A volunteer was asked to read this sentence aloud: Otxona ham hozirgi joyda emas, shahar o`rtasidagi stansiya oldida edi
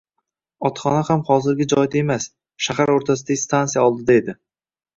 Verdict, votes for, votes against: accepted, 2, 0